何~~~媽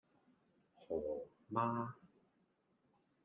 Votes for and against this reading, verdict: 1, 2, rejected